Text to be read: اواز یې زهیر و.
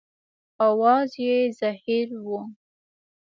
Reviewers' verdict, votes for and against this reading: accepted, 2, 0